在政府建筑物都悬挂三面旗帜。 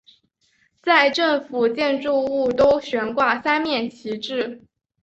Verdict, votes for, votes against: accepted, 7, 0